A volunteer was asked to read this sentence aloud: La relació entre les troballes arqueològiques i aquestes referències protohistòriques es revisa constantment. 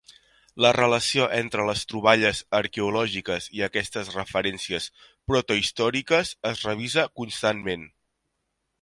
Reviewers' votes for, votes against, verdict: 3, 0, accepted